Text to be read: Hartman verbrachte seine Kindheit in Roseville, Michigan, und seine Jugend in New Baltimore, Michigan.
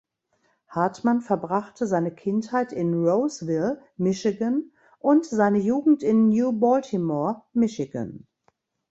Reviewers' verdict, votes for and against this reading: accepted, 2, 0